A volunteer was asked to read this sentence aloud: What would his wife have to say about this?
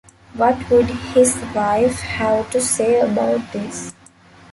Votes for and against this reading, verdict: 2, 1, accepted